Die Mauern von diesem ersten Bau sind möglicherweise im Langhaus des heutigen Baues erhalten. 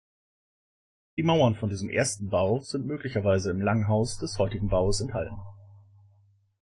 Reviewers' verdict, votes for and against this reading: rejected, 1, 2